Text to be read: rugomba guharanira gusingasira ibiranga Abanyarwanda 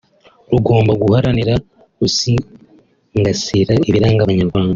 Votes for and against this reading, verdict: 2, 1, accepted